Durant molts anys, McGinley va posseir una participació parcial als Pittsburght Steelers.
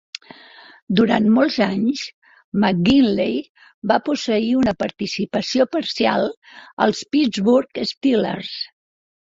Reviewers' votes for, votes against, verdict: 2, 0, accepted